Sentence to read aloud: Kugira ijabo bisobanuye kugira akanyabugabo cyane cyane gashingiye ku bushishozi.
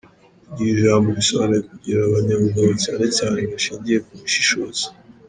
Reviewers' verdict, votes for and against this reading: rejected, 1, 3